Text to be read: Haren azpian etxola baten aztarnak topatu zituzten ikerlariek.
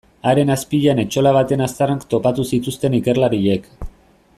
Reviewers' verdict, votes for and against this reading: accepted, 2, 0